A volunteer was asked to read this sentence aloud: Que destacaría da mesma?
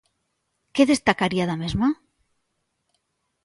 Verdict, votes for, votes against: accepted, 2, 0